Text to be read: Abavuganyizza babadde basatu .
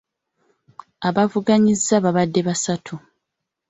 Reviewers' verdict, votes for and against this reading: accepted, 2, 0